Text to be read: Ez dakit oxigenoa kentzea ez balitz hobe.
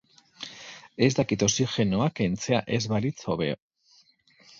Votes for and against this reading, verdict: 0, 4, rejected